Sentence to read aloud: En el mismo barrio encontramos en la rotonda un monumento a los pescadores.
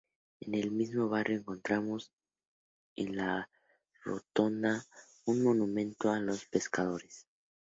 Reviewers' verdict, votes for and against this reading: accepted, 2, 0